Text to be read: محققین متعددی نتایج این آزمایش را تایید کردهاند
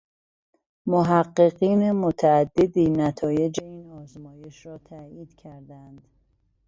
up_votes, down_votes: 1, 2